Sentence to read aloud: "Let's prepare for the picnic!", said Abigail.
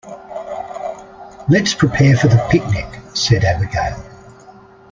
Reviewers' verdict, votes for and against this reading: rejected, 0, 2